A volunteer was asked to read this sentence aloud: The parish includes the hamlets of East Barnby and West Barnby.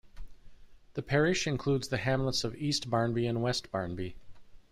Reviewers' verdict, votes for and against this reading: accepted, 2, 0